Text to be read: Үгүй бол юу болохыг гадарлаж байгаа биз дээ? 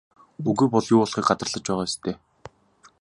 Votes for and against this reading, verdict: 3, 0, accepted